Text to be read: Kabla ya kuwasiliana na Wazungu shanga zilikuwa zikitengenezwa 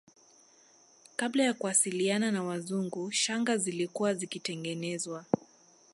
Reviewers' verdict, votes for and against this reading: rejected, 0, 2